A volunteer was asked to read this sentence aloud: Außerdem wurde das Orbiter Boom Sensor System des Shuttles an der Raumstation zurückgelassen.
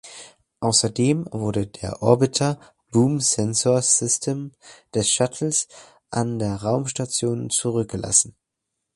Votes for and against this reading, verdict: 0, 2, rejected